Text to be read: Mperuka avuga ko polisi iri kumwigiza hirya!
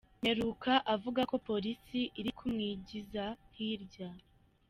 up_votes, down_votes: 1, 2